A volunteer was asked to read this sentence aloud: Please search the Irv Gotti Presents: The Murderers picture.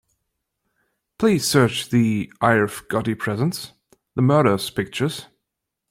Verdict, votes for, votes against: rejected, 2, 3